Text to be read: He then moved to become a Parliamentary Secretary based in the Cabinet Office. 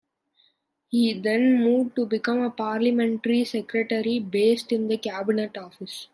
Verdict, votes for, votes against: accepted, 2, 0